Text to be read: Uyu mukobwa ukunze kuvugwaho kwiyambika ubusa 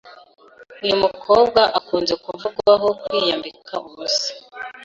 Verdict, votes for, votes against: rejected, 1, 2